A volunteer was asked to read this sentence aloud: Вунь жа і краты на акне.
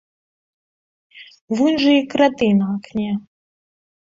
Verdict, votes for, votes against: rejected, 2, 3